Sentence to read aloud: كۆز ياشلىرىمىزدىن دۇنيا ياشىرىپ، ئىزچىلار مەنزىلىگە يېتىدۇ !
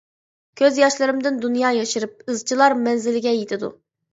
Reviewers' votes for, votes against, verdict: 0, 2, rejected